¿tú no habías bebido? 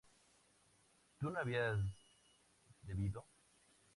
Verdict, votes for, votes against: rejected, 0, 2